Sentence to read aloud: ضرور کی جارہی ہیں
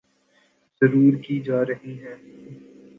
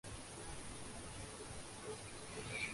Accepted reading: first